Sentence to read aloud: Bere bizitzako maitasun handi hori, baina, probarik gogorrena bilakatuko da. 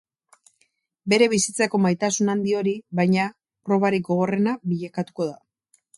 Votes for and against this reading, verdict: 2, 0, accepted